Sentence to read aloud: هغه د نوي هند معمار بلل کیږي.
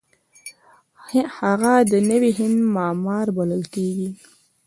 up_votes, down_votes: 2, 0